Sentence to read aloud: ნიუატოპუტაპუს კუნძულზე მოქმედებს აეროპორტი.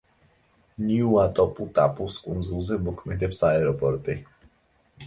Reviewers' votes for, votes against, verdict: 2, 0, accepted